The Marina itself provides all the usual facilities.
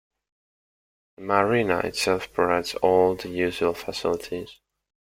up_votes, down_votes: 0, 2